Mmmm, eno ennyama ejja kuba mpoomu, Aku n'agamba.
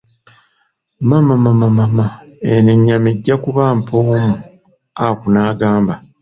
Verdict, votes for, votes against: rejected, 1, 2